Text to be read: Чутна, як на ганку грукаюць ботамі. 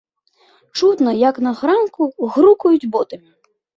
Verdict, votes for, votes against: rejected, 1, 2